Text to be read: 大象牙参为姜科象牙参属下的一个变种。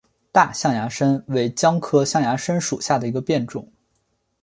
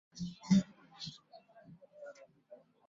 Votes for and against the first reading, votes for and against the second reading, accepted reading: 5, 1, 1, 2, first